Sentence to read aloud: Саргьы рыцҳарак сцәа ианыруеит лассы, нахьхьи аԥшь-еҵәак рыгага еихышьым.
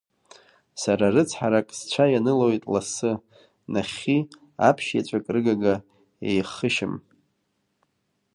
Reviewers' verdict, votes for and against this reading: rejected, 1, 2